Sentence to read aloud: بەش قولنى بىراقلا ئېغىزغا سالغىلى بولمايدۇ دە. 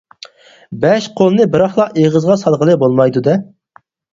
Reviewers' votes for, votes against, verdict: 4, 0, accepted